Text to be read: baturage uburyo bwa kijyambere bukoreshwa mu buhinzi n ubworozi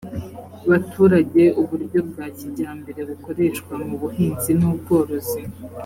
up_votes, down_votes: 3, 0